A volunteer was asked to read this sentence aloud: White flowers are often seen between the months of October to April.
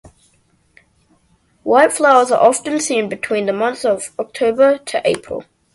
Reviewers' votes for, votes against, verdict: 2, 0, accepted